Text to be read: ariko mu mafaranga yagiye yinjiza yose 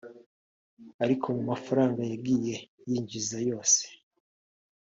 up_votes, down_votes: 1, 2